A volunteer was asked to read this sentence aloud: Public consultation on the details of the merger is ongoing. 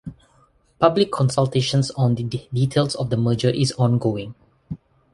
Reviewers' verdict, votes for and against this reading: rejected, 1, 2